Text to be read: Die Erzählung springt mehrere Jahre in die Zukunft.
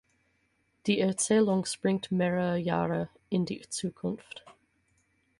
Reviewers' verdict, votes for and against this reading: accepted, 6, 0